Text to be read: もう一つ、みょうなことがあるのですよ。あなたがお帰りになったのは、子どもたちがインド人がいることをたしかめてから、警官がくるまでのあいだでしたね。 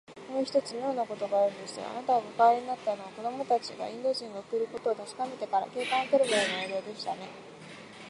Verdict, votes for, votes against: rejected, 0, 2